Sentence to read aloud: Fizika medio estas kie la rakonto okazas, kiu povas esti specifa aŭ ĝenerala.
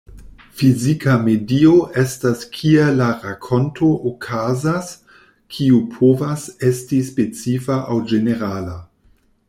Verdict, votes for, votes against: accepted, 2, 0